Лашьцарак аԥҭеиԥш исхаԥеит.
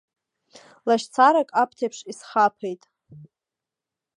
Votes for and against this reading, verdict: 1, 2, rejected